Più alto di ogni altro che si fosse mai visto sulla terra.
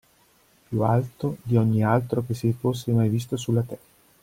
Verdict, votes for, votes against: rejected, 1, 2